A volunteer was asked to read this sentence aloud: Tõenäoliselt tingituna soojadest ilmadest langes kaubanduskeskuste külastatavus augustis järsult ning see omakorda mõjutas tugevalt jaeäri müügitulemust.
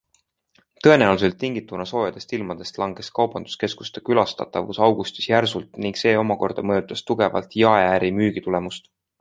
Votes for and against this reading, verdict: 2, 0, accepted